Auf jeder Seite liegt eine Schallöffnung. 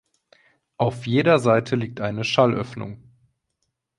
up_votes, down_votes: 2, 0